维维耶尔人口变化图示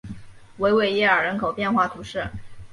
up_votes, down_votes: 2, 0